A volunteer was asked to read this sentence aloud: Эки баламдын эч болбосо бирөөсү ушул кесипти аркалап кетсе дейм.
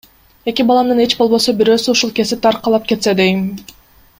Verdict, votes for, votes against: accepted, 2, 1